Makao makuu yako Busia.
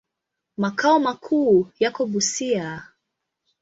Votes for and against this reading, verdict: 2, 0, accepted